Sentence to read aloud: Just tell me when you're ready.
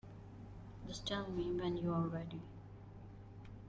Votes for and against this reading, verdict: 1, 2, rejected